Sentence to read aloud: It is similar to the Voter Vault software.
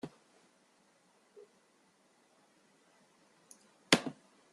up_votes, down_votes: 0, 2